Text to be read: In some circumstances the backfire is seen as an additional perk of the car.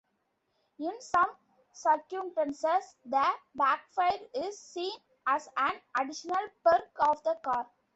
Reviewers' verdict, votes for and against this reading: rejected, 0, 2